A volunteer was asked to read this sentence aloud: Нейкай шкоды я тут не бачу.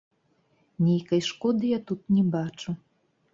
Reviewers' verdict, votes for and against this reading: rejected, 1, 2